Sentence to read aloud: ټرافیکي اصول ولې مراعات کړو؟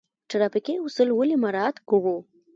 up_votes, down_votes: 1, 2